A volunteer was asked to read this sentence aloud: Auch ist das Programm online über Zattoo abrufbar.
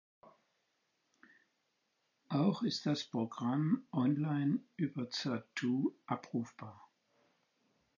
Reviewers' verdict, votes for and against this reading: accepted, 4, 0